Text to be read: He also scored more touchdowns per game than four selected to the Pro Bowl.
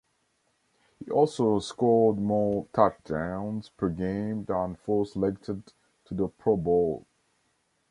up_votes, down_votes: 0, 2